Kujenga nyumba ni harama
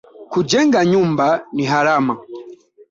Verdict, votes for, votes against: accepted, 2, 1